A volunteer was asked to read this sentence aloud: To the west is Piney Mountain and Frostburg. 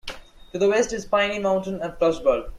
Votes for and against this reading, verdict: 2, 0, accepted